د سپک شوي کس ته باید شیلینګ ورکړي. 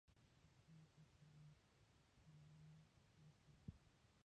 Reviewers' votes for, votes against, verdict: 1, 2, rejected